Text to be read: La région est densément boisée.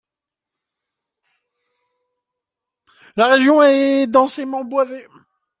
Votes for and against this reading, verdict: 0, 2, rejected